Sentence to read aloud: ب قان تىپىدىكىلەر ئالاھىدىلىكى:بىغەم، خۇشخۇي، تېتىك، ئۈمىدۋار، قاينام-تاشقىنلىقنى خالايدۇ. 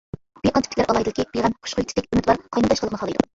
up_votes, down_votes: 0, 2